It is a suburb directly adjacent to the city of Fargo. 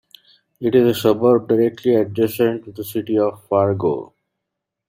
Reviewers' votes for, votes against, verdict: 2, 0, accepted